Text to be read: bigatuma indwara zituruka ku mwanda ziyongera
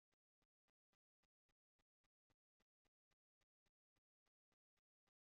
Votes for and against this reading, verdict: 0, 2, rejected